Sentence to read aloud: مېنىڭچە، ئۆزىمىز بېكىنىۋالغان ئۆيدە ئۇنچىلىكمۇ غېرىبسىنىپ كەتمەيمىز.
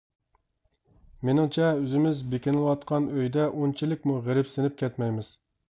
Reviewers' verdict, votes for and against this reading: rejected, 1, 2